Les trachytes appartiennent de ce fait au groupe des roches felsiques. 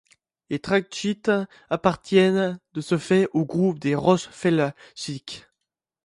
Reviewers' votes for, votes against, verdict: 1, 2, rejected